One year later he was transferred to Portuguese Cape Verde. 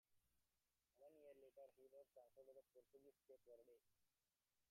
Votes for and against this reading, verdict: 0, 2, rejected